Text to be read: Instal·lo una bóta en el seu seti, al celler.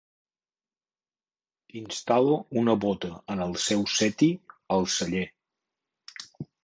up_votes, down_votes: 3, 0